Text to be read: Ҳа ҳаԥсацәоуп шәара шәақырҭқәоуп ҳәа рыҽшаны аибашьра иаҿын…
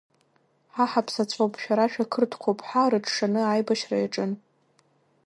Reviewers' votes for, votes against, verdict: 2, 0, accepted